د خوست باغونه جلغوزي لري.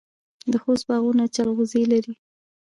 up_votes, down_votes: 0, 2